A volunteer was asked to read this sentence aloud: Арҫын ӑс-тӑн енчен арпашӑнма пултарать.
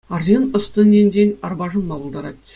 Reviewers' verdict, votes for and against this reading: accepted, 2, 0